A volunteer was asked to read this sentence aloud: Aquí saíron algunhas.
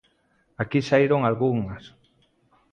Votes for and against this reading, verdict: 2, 0, accepted